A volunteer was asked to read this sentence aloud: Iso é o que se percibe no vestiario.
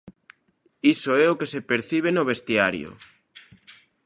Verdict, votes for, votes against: accepted, 2, 0